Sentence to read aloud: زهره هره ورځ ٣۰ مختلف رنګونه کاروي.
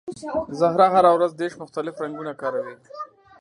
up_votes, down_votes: 0, 2